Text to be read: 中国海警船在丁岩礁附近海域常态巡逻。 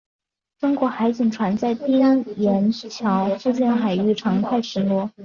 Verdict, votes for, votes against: accepted, 2, 1